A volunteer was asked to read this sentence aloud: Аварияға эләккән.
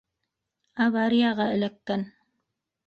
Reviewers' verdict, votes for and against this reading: accepted, 2, 1